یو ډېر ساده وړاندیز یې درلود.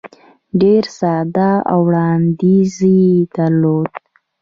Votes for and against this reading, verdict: 1, 2, rejected